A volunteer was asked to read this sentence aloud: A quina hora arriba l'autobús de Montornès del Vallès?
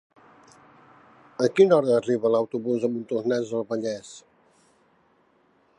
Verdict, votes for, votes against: accepted, 4, 0